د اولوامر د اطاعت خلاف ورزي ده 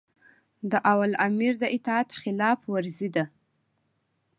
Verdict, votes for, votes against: accepted, 2, 0